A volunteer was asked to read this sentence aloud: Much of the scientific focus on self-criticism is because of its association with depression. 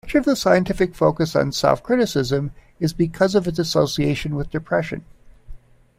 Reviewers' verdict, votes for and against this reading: rejected, 1, 2